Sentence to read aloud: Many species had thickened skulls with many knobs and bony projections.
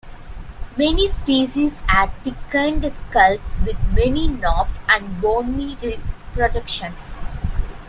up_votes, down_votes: 0, 2